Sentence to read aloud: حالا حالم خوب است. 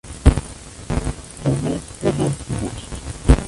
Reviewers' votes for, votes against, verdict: 0, 2, rejected